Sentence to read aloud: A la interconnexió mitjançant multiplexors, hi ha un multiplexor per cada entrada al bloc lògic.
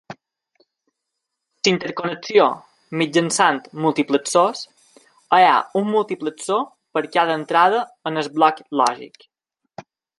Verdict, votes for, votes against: accepted, 2, 1